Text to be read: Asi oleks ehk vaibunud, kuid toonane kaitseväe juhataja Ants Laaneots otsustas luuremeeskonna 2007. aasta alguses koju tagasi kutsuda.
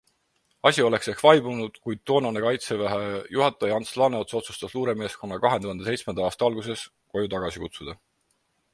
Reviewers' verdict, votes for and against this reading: rejected, 0, 2